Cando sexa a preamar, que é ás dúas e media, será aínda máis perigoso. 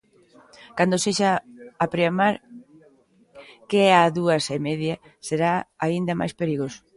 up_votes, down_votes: 1, 2